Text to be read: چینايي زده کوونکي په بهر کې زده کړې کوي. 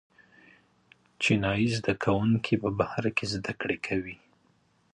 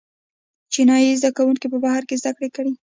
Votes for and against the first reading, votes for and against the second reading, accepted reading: 2, 0, 1, 2, first